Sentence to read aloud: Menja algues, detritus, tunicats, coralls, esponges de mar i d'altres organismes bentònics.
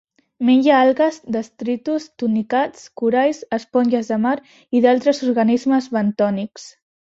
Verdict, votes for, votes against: rejected, 1, 2